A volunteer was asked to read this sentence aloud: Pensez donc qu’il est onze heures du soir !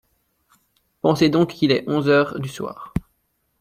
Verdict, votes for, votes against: accepted, 2, 0